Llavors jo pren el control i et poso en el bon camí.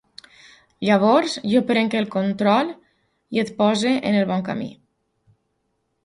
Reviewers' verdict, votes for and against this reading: accepted, 6, 0